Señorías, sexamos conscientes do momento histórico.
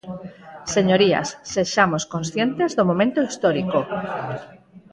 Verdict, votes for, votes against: rejected, 0, 4